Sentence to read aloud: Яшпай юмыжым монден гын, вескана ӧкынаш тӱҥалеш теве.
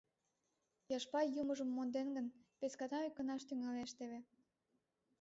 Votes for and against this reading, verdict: 1, 2, rejected